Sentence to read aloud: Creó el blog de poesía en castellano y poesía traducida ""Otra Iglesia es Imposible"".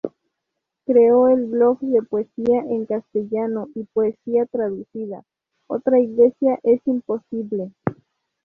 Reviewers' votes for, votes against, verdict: 4, 0, accepted